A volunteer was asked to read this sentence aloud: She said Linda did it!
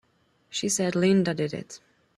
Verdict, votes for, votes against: accepted, 3, 0